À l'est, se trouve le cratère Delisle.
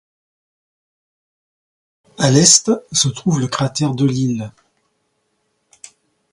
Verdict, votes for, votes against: accepted, 2, 0